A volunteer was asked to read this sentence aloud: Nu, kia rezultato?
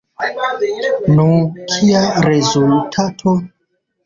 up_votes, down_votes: 0, 2